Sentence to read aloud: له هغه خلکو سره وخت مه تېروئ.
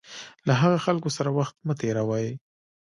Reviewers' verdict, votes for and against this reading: accepted, 2, 0